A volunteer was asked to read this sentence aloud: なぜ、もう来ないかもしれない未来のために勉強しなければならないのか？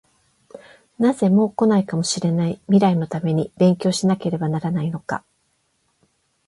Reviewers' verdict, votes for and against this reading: accepted, 8, 0